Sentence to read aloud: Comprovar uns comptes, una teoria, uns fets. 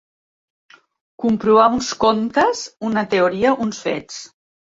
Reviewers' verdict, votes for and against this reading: accepted, 2, 0